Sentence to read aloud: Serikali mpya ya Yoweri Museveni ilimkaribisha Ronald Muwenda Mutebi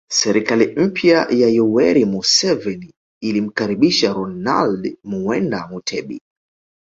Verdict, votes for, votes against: accepted, 2, 0